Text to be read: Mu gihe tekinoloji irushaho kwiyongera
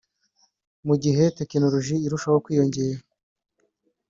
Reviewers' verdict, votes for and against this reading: accepted, 3, 0